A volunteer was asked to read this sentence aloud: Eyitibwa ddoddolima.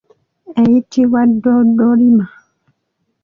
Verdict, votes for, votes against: accepted, 2, 1